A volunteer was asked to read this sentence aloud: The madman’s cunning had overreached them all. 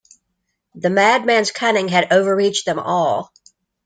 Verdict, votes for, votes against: accepted, 2, 0